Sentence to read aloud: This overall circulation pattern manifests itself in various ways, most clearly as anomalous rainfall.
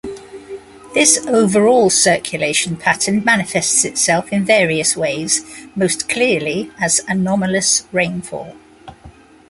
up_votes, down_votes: 2, 0